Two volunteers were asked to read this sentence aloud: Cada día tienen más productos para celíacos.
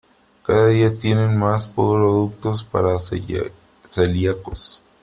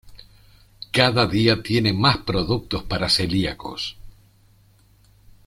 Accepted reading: second